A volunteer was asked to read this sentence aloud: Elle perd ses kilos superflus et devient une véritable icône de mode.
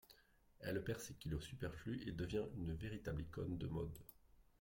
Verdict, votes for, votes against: rejected, 1, 2